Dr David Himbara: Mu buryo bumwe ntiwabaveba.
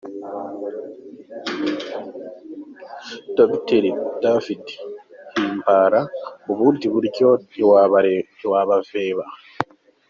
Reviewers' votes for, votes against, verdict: 1, 3, rejected